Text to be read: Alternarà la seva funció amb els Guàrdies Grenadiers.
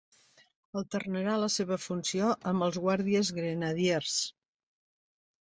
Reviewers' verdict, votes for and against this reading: accepted, 4, 1